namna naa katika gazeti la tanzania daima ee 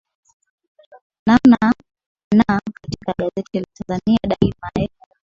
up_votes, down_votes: 1, 2